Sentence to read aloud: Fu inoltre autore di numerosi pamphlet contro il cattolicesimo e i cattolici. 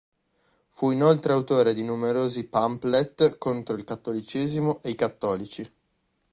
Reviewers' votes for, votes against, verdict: 0, 2, rejected